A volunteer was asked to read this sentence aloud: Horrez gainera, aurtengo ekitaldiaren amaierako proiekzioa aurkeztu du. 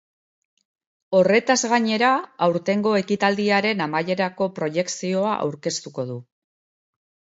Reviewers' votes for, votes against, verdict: 0, 3, rejected